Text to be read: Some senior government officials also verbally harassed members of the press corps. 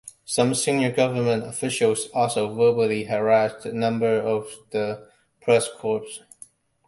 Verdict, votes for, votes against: accepted, 2, 1